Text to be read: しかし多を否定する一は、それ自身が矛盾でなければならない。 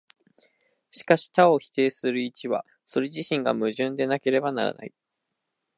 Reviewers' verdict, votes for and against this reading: accepted, 2, 0